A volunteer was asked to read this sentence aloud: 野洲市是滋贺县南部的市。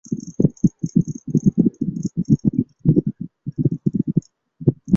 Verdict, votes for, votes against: rejected, 0, 2